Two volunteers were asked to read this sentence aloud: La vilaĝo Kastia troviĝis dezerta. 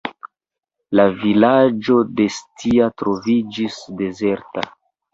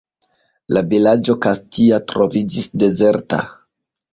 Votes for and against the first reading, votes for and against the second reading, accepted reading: 0, 2, 2, 0, second